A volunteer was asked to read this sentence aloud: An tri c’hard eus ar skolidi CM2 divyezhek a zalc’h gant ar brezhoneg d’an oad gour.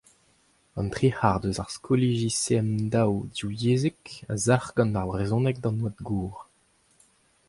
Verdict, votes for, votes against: rejected, 0, 2